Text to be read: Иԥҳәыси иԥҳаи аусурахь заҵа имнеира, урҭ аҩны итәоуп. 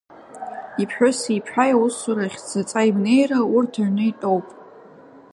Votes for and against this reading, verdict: 2, 1, accepted